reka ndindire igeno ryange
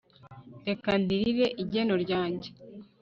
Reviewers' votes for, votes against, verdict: 1, 2, rejected